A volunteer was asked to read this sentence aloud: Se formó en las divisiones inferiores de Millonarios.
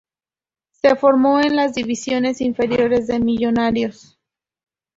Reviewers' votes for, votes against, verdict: 2, 0, accepted